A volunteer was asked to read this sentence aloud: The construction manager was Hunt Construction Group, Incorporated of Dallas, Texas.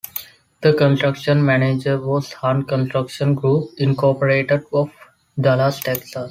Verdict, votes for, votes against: rejected, 1, 2